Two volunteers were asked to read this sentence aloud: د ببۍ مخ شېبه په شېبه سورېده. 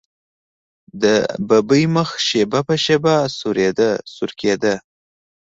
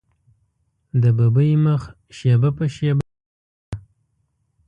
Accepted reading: first